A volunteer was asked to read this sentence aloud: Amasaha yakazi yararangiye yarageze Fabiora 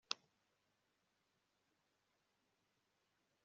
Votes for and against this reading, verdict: 2, 1, accepted